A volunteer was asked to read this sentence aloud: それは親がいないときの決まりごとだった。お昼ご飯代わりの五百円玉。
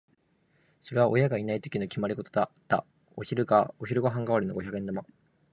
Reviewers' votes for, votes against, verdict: 2, 1, accepted